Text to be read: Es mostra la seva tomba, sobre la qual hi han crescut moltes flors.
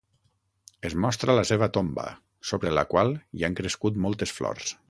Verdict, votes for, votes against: accepted, 6, 0